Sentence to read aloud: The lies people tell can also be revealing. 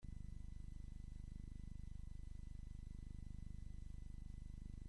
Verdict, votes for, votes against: rejected, 0, 2